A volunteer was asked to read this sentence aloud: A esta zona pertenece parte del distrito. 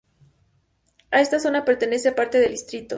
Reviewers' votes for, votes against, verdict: 2, 0, accepted